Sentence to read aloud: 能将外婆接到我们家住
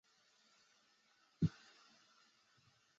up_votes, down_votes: 1, 2